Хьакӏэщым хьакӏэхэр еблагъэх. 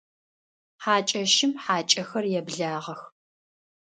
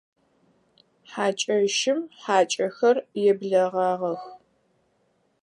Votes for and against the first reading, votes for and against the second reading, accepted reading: 2, 0, 2, 4, first